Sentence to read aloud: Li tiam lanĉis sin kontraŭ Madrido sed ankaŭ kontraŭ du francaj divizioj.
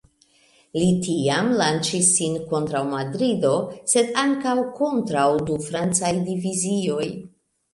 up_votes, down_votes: 2, 0